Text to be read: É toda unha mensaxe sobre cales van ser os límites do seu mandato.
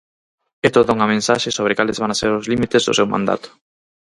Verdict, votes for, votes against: rejected, 2, 4